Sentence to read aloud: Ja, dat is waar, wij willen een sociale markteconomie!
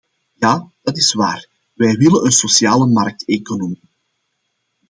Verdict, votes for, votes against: accepted, 2, 1